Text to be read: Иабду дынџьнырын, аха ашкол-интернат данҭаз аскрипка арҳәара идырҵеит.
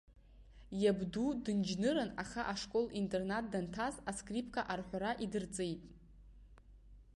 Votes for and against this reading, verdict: 1, 2, rejected